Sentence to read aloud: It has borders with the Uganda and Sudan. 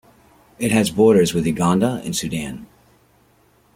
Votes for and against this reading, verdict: 2, 0, accepted